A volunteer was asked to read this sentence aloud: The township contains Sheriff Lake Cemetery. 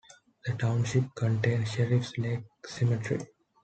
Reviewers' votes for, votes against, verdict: 2, 1, accepted